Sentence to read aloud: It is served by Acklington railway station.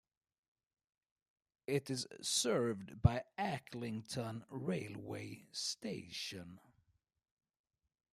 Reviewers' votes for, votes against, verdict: 1, 2, rejected